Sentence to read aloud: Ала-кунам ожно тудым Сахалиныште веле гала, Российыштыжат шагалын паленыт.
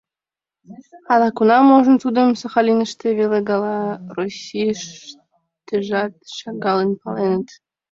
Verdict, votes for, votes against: rejected, 1, 2